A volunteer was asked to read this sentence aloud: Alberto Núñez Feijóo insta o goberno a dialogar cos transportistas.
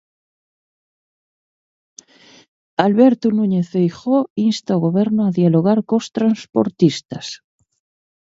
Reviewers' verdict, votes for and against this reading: accepted, 4, 0